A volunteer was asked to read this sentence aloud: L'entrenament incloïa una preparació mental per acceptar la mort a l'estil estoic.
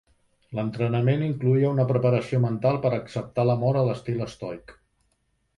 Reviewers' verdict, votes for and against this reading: accepted, 2, 0